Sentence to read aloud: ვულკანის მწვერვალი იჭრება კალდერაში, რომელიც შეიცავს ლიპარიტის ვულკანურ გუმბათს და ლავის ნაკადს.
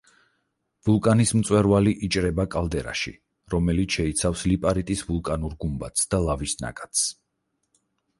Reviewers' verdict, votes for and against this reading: accepted, 4, 0